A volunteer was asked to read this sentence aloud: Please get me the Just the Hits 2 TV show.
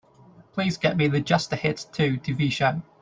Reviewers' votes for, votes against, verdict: 0, 2, rejected